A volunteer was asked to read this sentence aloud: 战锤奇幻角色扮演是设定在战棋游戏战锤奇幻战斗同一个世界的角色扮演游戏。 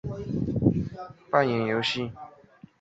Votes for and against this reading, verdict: 1, 3, rejected